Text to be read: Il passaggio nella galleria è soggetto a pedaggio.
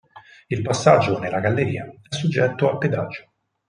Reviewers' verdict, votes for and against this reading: accepted, 4, 0